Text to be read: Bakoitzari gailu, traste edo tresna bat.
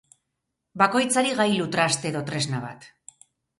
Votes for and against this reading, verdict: 0, 2, rejected